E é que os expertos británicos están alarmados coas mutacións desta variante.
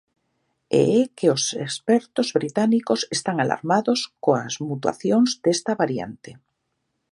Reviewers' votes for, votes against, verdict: 0, 2, rejected